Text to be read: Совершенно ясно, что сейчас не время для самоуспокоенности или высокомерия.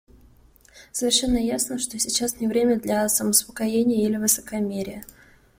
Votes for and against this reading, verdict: 1, 2, rejected